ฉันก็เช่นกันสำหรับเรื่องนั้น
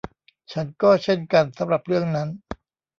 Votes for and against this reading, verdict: 1, 2, rejected